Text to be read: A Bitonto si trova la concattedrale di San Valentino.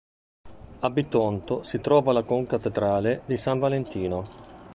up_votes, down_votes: 2, 0